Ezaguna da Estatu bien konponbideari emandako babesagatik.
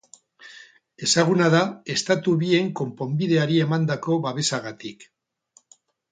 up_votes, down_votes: 4, 0